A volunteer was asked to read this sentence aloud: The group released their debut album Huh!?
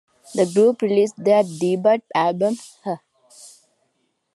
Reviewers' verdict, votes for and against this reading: accepted, 2, 0